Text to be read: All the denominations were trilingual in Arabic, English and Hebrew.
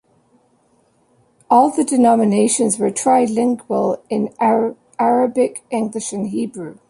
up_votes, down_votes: 0, 2